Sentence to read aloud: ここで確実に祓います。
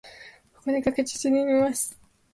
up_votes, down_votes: 0, 3